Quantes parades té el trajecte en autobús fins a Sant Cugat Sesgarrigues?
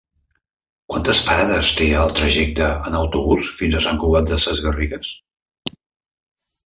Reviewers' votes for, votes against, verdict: 1, 2, rejected